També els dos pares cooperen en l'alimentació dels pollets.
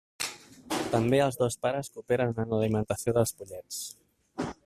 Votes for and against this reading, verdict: 1, 2, rejected